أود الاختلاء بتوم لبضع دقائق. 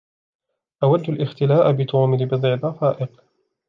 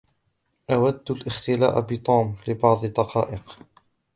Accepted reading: first